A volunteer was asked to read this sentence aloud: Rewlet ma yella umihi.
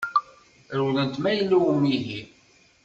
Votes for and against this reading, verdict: 0, 2, rejected